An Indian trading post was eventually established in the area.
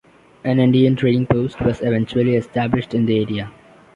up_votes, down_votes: 2, 0